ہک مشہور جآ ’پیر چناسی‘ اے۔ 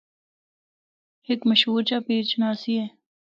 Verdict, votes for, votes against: accepted, 2, 0